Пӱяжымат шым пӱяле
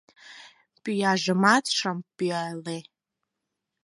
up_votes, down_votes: 4, 0